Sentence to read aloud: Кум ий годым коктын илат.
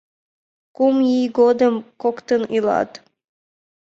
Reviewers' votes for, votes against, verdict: 2, 0, accepted